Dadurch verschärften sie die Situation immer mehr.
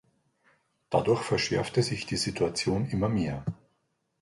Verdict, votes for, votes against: rejected, 1, 2